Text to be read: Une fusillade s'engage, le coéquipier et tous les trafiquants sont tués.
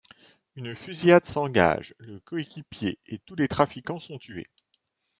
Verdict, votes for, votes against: accepted, 2, 0